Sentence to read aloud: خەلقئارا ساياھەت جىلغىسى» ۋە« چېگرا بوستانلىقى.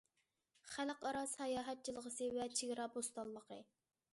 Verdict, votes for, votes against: accepted, 2, 0